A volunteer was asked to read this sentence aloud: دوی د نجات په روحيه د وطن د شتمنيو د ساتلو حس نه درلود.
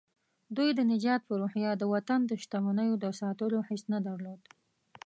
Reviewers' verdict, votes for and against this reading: accepted, 2, 0